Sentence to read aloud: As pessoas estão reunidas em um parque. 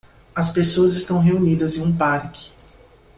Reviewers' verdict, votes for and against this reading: accepted, 2, 0